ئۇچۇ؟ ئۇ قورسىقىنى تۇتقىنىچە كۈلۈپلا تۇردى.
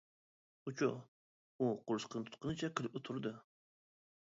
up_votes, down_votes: 0, 2